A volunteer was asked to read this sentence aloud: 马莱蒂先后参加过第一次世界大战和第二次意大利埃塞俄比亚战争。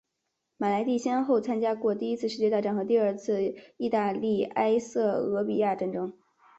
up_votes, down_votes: 3, 1